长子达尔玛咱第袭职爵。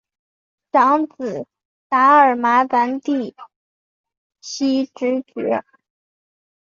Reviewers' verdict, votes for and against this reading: accepted, 2, 0